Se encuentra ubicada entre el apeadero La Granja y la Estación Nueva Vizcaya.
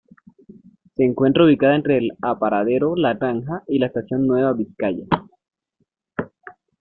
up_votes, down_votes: 1, 2